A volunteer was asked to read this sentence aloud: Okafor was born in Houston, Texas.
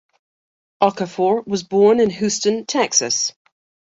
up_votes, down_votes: 2, 0